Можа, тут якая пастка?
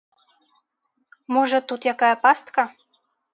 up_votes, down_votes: 2, 0